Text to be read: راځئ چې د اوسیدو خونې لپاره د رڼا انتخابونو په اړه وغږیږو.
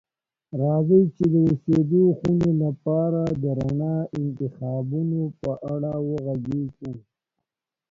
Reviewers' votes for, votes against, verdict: 3, 0, accepted